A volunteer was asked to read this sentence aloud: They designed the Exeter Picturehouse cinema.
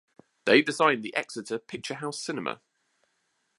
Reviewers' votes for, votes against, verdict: 2, 1, accepted